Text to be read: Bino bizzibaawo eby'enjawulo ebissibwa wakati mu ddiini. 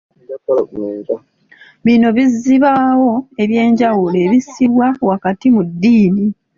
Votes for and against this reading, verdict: 0, 2, rejected